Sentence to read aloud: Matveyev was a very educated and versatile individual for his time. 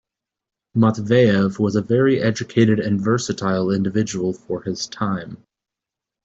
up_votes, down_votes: 2, 0